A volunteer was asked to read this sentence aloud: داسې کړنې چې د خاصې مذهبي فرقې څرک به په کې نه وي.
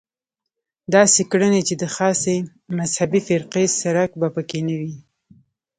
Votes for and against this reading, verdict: 3, 1, accepted